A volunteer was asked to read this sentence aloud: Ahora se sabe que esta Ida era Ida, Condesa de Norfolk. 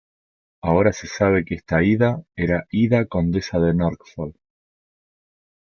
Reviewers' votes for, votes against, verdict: 1, 2, rejected